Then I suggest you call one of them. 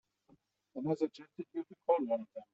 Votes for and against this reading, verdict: 1, 2, rejected